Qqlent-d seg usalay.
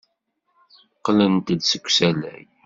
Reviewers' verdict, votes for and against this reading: accepted, 2, 0